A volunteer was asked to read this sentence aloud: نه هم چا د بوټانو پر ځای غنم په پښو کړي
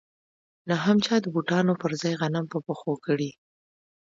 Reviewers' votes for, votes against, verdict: 2, 0, accepted